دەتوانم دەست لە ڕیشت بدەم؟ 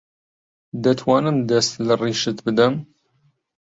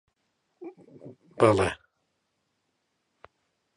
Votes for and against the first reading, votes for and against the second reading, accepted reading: 2, 0, 0, 2, first